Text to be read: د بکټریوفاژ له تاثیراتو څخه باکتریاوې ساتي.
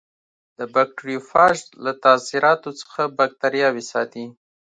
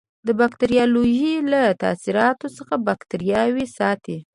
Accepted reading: first